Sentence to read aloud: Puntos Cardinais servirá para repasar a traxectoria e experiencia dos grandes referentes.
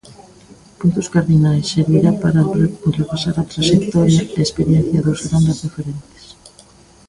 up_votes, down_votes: 0, 2